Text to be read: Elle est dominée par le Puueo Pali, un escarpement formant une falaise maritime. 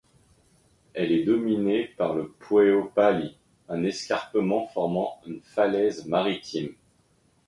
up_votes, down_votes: 2, 0